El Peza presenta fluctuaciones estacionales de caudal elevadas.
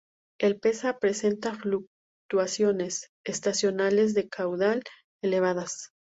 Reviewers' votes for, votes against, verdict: 2, 0, accepted